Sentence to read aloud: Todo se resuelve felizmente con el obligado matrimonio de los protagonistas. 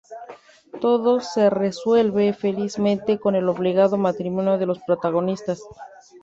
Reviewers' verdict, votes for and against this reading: accepted, 2, 0